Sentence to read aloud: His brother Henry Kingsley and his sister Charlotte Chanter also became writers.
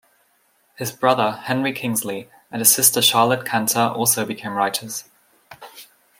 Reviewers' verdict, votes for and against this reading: accepted, 2, 0